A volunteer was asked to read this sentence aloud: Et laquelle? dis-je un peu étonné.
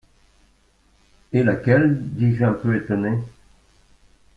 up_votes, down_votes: 1, 2